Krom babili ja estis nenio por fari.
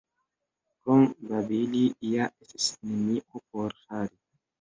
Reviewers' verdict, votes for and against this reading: rejected, 1, 2